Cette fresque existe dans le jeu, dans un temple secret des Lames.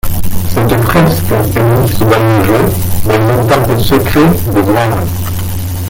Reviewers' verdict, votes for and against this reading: rejected, 0, 2